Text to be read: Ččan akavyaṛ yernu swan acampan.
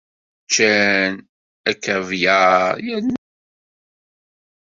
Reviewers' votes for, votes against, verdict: 0, 2, rejected